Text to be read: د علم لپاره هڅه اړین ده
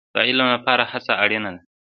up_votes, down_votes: 2, 1